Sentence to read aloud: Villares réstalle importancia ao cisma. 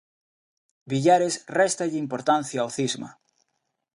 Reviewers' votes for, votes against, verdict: 2, 0, accepted